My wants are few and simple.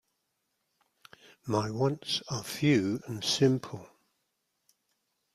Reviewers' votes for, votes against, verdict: 2, 0, accepted